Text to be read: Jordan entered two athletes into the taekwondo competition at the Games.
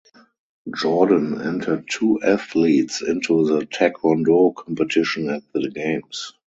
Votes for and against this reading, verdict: 2, 2, rejected